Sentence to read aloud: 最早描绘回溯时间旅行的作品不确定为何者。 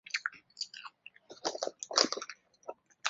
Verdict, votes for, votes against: rejected, 0, 3